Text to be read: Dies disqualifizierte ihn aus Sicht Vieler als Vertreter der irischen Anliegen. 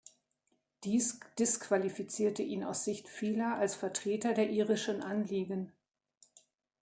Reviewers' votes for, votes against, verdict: 2, 0, accepted